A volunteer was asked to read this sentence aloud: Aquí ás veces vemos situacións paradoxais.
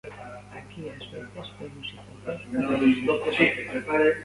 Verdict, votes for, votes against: rejected, 0, 2